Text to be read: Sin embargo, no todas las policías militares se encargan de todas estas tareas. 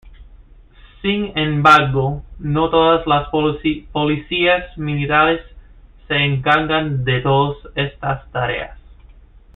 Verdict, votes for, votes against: rejected, 1, 2